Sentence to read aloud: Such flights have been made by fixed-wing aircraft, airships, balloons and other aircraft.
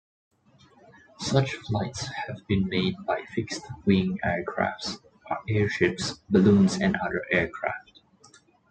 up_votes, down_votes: 2, 0